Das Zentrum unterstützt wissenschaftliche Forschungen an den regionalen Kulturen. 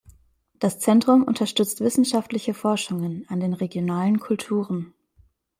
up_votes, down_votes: 2, 0